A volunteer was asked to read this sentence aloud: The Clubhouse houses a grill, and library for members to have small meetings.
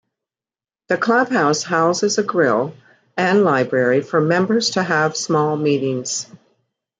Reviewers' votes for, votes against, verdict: 2, 0, accepted